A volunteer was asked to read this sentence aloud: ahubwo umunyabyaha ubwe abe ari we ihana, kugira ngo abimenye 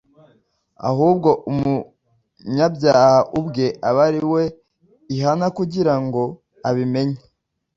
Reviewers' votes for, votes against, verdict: 2, 0, accepted